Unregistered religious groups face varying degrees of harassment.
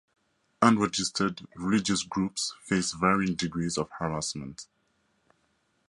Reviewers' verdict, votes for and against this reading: rejected, 2, 2